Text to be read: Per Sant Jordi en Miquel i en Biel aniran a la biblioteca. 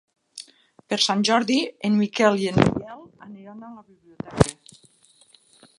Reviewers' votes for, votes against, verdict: 1, 2, rejected